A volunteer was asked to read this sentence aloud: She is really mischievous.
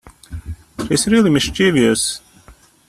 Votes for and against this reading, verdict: 0, 2, rejected